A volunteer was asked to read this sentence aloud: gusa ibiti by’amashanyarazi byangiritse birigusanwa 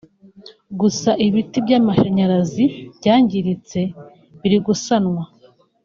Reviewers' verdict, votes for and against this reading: rejected, 0, 2